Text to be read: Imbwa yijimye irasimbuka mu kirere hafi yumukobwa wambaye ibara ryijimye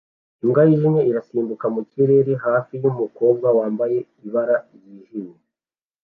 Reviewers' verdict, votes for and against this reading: accepted, 2, 0